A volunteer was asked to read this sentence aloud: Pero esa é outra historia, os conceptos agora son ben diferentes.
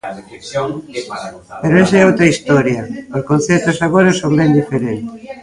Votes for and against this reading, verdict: 1, 2, rejected